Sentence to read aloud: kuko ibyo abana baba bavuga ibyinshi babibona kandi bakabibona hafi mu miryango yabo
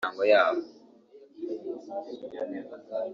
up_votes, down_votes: 0, 2